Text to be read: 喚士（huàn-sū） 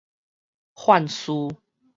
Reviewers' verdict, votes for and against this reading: rejected, 2, 4